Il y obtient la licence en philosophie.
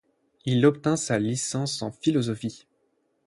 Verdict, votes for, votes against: rejected, 0, 8